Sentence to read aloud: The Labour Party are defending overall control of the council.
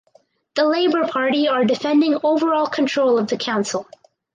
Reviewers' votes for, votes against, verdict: 4, 0, accepted